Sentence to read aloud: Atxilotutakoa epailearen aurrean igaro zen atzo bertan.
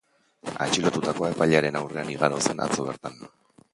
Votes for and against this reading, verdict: 0, 12, rejected